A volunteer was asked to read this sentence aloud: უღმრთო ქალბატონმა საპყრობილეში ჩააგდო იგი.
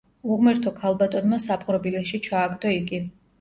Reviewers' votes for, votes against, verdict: 1, 2, rejected